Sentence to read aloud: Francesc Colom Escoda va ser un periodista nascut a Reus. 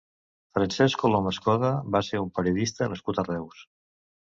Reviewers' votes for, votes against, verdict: 2, 0, accepted